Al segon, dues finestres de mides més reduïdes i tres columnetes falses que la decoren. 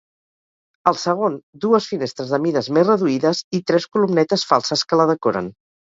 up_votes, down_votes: 2, 2